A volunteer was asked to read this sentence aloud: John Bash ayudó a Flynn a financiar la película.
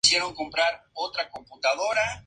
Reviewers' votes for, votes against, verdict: 0, 2, rejected